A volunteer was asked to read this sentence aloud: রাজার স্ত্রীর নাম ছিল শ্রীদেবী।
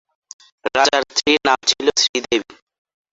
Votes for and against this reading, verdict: 0, 2, rejected